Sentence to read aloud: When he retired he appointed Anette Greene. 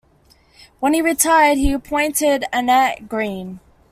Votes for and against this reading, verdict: 2, 0, accepted